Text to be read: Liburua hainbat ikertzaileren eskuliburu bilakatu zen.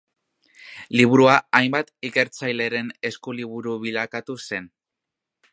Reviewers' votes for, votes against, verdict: 2, 1, accepted